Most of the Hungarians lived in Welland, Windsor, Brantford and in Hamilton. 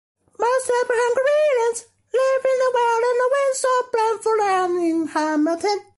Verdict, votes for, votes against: rejected, 0, 2